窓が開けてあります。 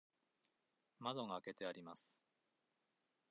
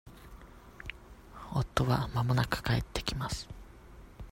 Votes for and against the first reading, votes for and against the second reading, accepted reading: 2, 0, 0, 2, first